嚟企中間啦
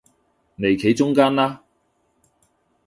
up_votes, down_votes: 2, 0